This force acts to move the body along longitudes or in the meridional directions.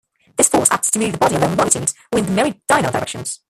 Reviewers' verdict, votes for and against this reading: rejected, 0, 2